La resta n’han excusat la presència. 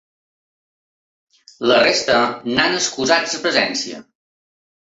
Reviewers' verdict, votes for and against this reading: rejected, 1, 2